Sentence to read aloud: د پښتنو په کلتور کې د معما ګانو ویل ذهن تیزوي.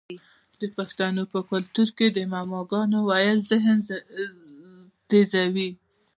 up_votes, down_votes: 2, 0